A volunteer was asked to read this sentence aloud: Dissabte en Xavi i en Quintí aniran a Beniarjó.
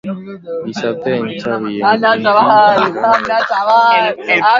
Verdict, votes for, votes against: rejected, 0, 2